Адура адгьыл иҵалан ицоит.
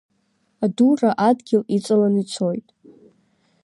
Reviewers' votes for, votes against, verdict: 2, 0, accepted